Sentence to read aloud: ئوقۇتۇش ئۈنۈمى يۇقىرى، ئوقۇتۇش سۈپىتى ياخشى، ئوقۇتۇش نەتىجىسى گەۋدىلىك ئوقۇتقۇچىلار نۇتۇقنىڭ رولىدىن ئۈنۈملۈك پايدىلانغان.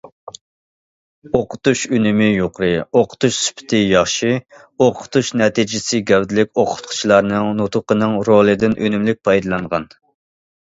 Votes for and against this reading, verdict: 1, 2, rejected